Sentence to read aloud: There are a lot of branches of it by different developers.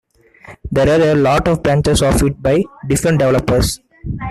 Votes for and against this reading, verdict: 1, 2, rejected